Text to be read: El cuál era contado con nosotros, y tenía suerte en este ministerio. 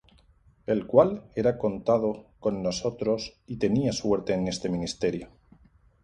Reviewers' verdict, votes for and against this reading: rejected, 0, 2